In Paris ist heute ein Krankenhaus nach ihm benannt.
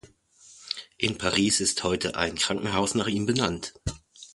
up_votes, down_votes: 2, 0